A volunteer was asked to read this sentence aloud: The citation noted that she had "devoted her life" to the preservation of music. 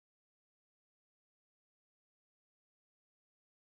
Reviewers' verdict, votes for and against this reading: rejected, 0, 2